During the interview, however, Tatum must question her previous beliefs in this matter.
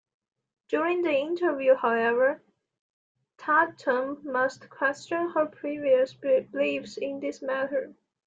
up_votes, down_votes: 2, 0